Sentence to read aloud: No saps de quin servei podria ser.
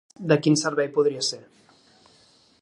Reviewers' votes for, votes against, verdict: 0, 3, rejected